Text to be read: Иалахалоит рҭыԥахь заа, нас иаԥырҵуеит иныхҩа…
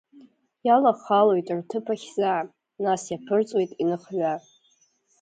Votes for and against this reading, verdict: 1, 2, rejected